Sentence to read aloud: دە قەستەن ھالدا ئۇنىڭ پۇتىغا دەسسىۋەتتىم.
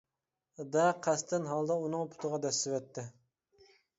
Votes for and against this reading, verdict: 2, 1, accepted